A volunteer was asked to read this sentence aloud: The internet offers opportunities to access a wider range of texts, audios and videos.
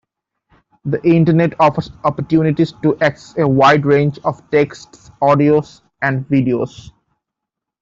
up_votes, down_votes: 0, 2